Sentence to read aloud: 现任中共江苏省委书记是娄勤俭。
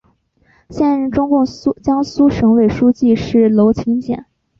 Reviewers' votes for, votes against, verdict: 3, 0, accepted